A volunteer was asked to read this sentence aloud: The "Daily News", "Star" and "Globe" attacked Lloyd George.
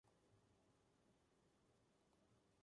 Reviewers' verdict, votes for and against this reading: rejected, 0, 2